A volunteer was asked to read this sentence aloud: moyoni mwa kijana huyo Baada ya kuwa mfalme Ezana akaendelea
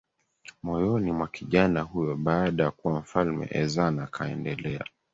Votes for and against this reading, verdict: 2, 0, accepted